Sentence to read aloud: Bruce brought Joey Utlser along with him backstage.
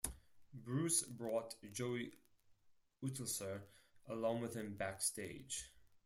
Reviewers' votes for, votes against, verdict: 0, 4, rejected